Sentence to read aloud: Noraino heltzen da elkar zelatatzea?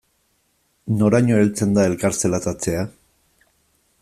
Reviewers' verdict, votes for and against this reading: accepted, 2, 0